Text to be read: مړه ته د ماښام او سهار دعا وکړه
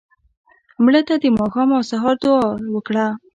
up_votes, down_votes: 1, 2